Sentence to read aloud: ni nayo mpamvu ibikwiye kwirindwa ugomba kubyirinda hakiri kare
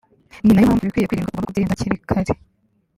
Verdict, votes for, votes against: accepted, 2, 0